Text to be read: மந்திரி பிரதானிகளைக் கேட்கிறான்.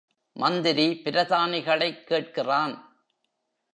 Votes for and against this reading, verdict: 2, 0, accepted